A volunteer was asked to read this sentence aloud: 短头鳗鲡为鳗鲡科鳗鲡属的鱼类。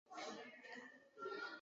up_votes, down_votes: 0, 4